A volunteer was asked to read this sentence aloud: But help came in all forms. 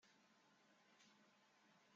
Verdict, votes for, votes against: rejected, 0, 2